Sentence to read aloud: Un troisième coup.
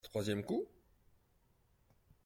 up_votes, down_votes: 0, 2